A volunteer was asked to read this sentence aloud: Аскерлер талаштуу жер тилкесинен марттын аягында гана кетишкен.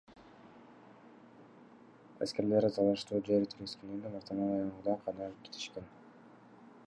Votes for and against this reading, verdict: 1, 2, rejected